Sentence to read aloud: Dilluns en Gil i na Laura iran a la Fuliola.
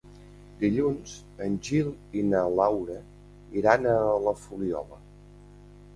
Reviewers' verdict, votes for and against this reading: accepted, 2, 0